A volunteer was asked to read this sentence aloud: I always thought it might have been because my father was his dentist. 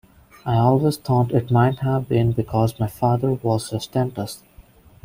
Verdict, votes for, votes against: accepted, 2, 0